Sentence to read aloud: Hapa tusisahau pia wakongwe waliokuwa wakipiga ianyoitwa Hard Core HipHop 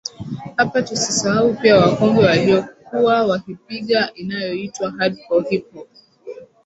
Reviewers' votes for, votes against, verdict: 2, 5, rejected